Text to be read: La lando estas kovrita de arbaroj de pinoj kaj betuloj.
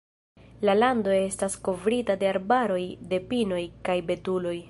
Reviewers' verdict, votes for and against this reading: rejected, 1, 2